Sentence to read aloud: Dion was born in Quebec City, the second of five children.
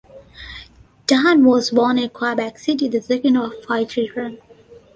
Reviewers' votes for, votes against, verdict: 1, 2, rejected